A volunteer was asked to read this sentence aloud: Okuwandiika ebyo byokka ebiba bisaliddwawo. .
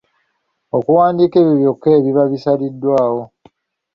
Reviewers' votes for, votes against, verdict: 2, 0, accepted